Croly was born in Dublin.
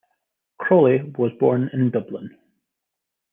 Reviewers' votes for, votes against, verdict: 2, 1, accepted